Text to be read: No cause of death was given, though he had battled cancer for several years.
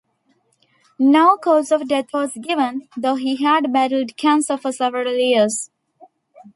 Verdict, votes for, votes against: accepted, 2, 1